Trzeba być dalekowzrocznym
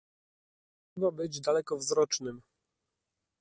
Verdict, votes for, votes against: rejected, 1, 3